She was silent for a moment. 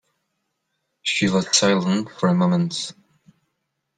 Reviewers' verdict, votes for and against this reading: rejected, 1, 2